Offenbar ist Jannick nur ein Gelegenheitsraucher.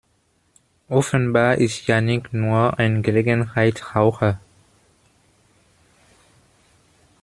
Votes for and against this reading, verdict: 0, 2, rejected